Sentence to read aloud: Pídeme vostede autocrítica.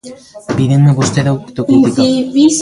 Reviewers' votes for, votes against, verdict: 0, 2, rejected